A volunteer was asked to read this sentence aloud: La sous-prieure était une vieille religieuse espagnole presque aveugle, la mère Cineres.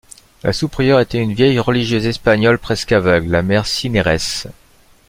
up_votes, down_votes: 2, 0